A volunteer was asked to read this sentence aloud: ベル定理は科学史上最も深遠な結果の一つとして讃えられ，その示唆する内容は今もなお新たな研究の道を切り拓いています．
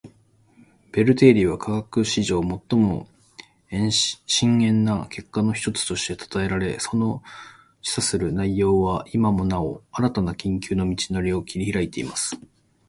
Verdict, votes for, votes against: rejected, 1, 2